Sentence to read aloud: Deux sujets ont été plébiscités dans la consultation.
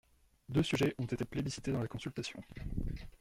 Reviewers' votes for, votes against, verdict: 1, 2, rejected